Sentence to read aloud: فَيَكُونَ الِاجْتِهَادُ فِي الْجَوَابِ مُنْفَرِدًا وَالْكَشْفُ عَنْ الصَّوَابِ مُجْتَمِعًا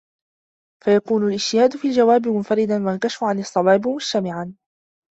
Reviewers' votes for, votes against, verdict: 2, 0, accepted